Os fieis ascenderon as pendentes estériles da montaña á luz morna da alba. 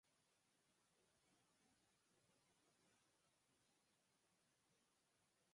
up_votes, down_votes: 0, 4